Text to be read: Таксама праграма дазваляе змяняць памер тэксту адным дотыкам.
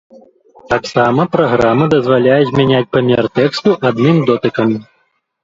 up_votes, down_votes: 1, 3